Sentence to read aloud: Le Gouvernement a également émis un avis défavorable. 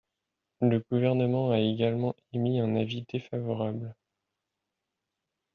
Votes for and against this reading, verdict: 1, 2, rejected